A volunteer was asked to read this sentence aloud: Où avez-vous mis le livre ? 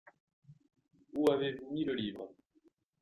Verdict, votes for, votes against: rejected, 1, 3